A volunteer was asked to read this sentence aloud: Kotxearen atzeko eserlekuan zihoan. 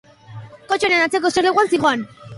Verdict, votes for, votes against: rejected, 1, 2